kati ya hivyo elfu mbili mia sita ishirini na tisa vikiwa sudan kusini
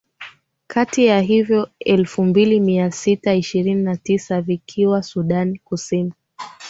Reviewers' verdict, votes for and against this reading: accepted, 7, 1